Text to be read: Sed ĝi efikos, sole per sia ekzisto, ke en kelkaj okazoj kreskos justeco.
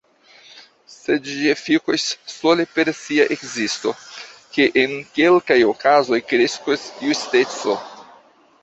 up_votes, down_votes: 2, 1